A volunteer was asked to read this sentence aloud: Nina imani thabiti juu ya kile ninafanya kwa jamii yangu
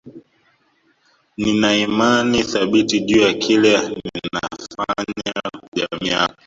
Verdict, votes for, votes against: rejected, 0, 2